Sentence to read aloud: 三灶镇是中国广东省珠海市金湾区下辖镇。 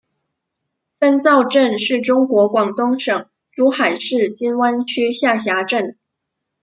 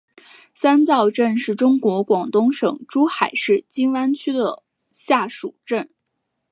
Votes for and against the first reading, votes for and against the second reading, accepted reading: 2, 0, 1, 3, first